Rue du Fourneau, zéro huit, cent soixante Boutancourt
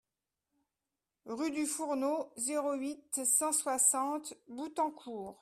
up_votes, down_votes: 2, 0